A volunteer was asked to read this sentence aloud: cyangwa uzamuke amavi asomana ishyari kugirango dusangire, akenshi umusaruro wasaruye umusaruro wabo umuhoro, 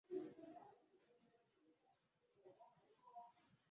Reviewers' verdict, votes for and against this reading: rejected, 0, 2